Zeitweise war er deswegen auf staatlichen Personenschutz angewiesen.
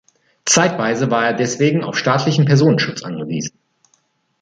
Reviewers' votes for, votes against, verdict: 2, 0, accepted